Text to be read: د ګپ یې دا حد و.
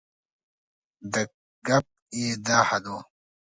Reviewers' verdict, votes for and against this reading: accepted, 2, 0